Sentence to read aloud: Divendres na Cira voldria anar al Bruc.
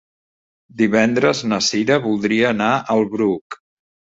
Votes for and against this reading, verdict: 3, 0, accepted